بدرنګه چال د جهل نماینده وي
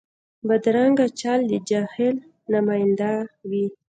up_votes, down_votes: 1, 2